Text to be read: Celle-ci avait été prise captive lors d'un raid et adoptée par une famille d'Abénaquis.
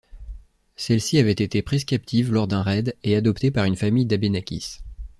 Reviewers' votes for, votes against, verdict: 2, 0, accepted